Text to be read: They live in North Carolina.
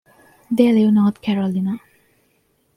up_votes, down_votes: 0, 2